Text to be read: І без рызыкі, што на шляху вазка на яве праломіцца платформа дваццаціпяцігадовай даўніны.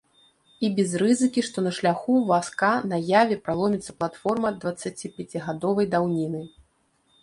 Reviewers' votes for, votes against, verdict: 0, 2, rejected